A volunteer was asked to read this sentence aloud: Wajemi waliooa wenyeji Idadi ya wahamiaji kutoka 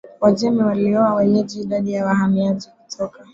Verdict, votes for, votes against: accepted, 2, 0